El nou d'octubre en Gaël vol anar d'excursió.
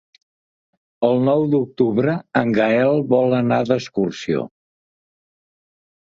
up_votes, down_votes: 4, 0